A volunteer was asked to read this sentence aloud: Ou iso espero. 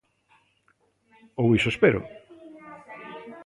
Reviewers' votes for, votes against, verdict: 2, 0, accepted